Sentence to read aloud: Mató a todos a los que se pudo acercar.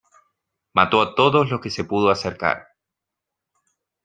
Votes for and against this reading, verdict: 2, 0, accepted